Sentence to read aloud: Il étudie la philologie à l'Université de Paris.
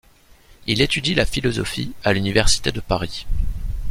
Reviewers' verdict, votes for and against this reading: rejected, 0, 2